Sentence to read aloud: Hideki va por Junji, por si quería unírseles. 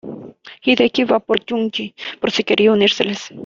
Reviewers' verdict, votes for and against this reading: accepted, 2, 0